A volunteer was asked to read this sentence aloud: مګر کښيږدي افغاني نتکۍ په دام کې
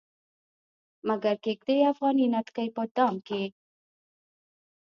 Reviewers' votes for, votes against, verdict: 1, 2, rejected